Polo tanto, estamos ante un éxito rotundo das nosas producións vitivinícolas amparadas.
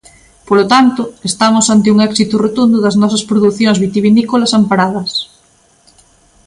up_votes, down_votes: 2, 0